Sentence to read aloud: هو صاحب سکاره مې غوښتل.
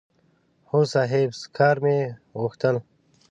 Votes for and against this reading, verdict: 1, 2, rejected